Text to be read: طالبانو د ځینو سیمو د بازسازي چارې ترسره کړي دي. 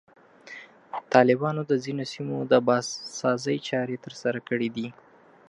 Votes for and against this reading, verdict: 2, 0, accepted